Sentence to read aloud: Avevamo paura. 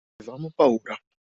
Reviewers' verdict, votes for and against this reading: rejected, 0, 2